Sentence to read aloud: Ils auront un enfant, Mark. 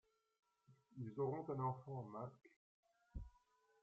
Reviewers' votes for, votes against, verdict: 1, 2, rejected